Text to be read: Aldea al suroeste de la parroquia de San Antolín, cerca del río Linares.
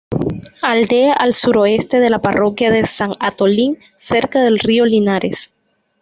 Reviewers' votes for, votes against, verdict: 0, 2, rejected